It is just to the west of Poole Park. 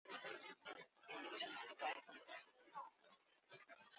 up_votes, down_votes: 0, 2